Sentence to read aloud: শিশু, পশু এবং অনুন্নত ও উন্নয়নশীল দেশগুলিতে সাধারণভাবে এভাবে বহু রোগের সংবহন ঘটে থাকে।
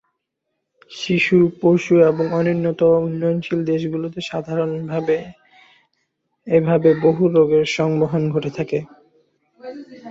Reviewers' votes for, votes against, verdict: 2, 0, accepted